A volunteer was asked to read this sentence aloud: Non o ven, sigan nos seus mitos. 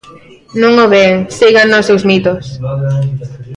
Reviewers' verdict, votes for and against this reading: rejected, 1, 2